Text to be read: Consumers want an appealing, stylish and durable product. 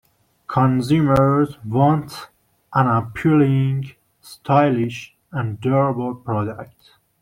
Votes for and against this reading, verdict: 1, 2, rejected